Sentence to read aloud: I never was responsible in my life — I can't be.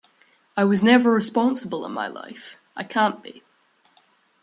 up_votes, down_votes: 0, 2